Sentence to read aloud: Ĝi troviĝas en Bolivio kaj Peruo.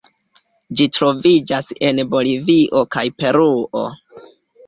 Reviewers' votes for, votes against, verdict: 2, 0, accepted